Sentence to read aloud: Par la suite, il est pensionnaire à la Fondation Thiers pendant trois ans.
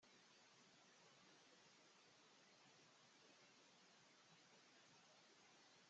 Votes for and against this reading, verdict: 1, 2, rejected